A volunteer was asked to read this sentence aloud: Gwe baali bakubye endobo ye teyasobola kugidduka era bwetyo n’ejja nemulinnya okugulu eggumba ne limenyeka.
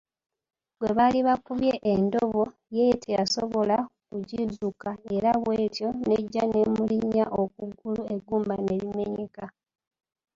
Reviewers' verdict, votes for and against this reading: rejected, 0, 2